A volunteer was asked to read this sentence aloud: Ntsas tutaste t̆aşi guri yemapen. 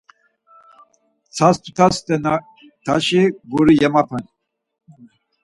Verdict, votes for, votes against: rejected, 2, 4